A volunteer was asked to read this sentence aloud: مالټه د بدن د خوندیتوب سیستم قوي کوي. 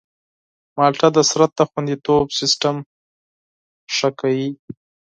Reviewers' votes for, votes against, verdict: 2, 4, rejected